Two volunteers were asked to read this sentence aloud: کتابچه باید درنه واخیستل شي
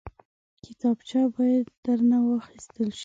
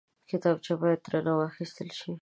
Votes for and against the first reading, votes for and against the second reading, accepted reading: 1, 2, 2, 0, second